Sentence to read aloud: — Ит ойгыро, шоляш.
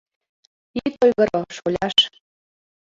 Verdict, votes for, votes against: accepted, 2, 1